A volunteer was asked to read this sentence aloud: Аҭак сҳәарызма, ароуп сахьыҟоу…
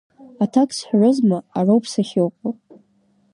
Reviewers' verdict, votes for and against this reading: rejected, 1, 2